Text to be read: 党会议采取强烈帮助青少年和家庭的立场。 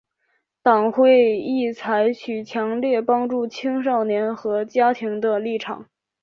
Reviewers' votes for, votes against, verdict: 3, 1, accepted